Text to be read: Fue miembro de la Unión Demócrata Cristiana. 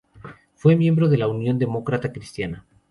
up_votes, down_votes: 0, 4